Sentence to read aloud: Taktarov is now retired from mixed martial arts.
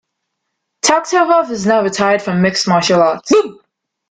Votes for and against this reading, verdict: 1, 2, rejected